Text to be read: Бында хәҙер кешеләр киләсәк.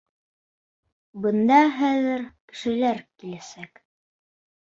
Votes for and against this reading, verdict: 2, 3, rejected